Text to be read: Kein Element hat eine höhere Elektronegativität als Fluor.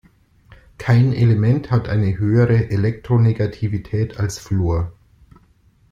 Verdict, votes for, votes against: accepted, 2, 0